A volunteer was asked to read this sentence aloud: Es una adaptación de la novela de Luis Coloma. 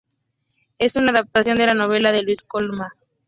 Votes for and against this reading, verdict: 0, 2, rejected